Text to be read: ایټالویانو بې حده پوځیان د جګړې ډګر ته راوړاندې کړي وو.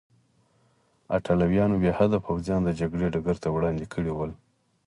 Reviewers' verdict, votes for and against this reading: accepted, 4, 2